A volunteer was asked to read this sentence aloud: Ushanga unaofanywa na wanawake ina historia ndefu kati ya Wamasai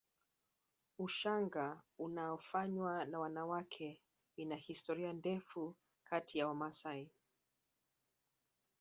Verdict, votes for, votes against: rejected, 1, 2